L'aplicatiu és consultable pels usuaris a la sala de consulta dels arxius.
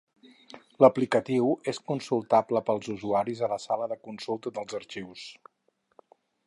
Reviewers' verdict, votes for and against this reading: accepted, 4, 0